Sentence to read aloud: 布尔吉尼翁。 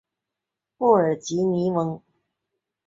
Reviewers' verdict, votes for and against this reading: accepted, 5, 0